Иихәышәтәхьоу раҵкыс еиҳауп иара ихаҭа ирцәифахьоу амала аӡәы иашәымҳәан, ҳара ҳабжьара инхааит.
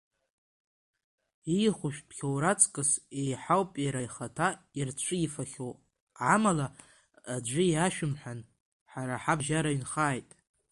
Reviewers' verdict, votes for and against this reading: rejected, 1, 2